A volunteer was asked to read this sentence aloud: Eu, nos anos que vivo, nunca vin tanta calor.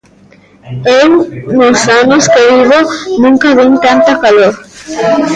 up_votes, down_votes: 0, 2